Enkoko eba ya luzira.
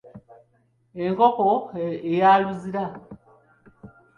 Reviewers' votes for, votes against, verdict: 2, 1, accepted